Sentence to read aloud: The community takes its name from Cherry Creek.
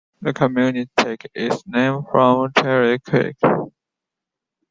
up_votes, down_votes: 0, 2